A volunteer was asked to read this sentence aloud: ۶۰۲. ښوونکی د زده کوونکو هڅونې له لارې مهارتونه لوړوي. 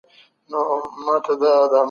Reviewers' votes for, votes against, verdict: 0, 2, rejected